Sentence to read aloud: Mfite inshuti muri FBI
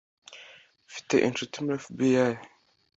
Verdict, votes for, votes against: accepted, 2, 0